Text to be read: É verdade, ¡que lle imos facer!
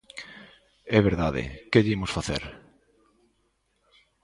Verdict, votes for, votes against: accepted, 2, 0